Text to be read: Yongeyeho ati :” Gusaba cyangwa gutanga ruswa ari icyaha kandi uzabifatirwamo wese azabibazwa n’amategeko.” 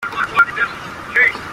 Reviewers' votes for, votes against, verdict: 0, 2, rejected